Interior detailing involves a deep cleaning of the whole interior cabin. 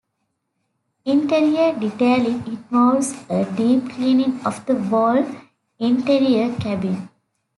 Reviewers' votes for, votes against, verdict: 2, 0, accepted